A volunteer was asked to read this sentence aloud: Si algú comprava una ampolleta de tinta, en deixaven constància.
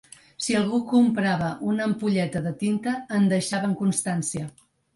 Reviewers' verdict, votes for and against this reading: accepted, 4, 0